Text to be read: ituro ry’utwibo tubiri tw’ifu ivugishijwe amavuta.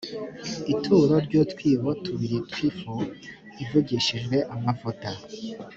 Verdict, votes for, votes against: accepted, 2, 0